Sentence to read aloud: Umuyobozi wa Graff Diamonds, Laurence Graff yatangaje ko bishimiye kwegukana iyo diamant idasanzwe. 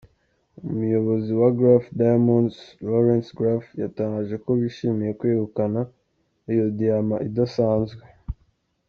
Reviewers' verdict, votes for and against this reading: accepted, 2, 1